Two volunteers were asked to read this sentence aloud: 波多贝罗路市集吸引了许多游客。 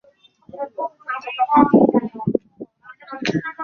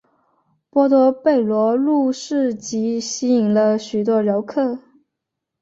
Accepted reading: second